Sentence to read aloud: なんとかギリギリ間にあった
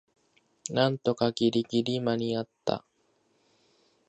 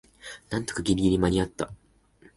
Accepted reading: first